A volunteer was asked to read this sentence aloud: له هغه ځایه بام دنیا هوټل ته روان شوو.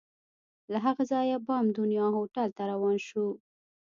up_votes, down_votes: 1, 2